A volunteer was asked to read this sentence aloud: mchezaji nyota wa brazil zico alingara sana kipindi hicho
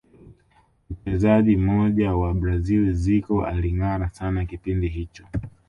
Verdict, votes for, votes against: accepted, 2, 0